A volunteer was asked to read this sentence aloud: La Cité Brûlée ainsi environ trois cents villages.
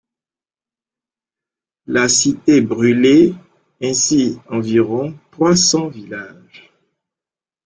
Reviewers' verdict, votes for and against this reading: rejected, 1, 3